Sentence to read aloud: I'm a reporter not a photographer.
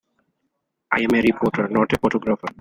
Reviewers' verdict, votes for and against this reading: rejected, 1, 2